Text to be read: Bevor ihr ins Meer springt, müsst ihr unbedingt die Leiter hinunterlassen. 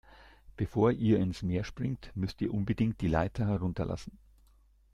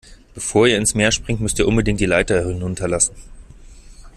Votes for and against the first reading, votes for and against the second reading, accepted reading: 0, 2, 2, 0, second